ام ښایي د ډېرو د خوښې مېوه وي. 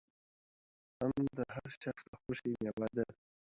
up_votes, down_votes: 1, 2